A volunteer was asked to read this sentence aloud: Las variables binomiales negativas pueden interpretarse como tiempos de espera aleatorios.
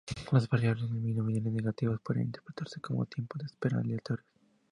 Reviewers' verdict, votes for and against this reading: rejected, 2, 2